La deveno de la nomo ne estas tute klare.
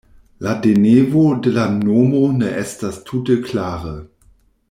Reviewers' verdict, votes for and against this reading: rejected, 0, 2